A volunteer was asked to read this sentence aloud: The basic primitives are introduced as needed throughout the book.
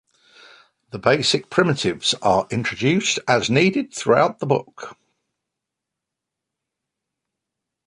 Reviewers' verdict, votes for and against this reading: accepted, 2, 0